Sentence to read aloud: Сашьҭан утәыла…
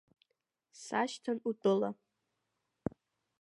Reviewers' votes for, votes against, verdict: 1, 2, rejected